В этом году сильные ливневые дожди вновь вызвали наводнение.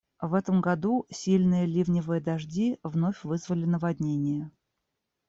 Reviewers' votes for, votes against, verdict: 0, 2, rejected